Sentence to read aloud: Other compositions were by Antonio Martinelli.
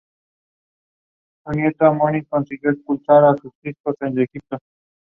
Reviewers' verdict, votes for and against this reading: rejected, 0, 2